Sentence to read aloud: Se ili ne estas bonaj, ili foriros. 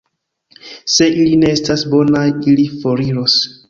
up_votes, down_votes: 2, 1